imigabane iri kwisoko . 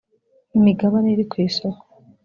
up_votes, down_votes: 3, 0